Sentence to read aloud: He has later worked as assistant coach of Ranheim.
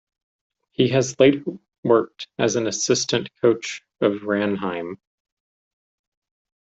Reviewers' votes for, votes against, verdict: 0, 2, rejected